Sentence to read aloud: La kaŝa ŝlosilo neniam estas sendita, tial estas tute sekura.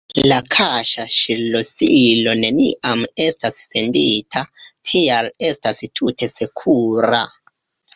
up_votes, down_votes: 3, 4